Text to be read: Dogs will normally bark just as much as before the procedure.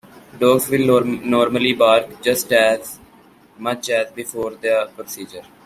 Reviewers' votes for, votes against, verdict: 2, 1, accepted